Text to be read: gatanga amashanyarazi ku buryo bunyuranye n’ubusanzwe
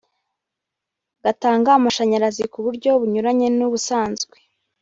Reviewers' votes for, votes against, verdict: 3, 0, accepted